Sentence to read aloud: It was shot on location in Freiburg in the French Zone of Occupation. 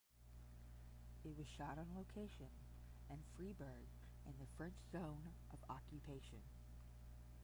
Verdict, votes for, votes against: rejected, 0, 10